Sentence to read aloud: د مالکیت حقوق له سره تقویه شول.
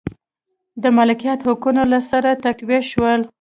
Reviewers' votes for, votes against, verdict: 2, 0, accepted